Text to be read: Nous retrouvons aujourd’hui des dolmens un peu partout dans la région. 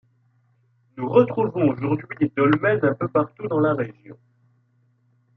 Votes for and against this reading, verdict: 2, 1, accepted